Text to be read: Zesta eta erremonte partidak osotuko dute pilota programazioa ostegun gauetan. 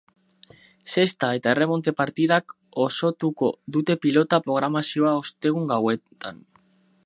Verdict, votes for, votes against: accepted, 10, 0